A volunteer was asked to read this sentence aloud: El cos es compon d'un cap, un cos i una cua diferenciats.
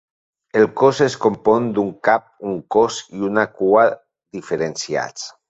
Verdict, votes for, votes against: accepted, 2, 0